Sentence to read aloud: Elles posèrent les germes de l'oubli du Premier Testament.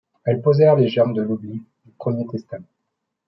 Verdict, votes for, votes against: rejected, 1, 2